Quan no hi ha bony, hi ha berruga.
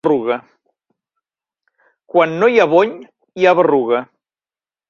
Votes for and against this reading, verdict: 1, 2, rejected